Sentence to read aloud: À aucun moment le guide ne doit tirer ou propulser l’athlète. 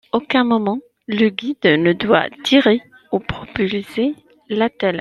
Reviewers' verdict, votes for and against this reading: rejected, 0, 2